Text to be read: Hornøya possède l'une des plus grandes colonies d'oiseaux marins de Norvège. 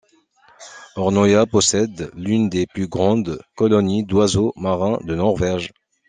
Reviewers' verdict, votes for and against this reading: accepted, 2, 0